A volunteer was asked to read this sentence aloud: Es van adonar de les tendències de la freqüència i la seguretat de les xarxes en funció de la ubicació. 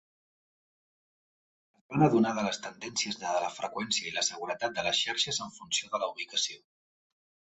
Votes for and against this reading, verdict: 1, 3, rejected